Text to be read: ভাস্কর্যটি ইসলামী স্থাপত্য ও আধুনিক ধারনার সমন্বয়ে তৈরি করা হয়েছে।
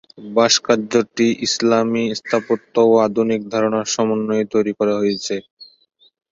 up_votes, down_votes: 3, 6